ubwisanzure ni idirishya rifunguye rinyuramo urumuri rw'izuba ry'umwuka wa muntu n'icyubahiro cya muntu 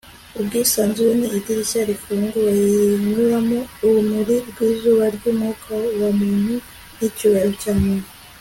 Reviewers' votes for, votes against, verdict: 3, 0, accepted